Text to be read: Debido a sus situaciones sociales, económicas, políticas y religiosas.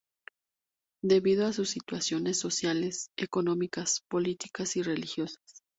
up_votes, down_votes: 2, 0